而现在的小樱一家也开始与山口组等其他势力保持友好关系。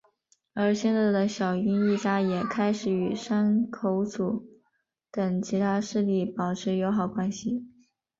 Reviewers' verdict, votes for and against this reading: accepted, 3, 1